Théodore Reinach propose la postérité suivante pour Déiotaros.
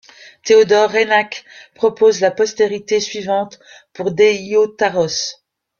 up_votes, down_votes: 1, 2